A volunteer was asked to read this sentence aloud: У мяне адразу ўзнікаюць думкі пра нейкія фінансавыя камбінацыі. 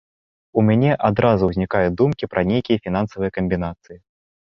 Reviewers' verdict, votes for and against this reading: accepted, 2, 0